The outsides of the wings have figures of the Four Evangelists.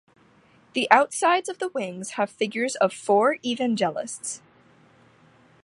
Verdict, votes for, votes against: rejected, 1, 2